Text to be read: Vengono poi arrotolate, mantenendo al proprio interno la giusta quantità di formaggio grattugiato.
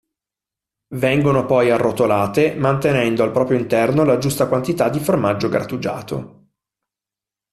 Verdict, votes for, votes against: accepted, 2, 0